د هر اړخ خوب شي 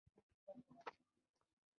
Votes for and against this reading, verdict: 2, 0, accepted